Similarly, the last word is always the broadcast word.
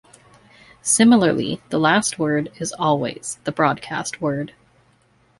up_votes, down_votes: 2, 0